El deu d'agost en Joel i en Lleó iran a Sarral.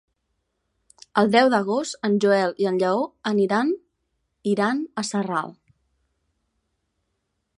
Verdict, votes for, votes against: rejected, 1, 2